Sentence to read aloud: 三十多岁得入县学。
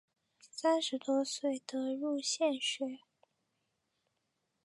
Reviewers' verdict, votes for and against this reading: accepted, 2, 0